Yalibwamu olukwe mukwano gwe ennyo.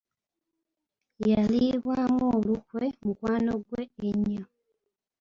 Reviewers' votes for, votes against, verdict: 1, 2, rejected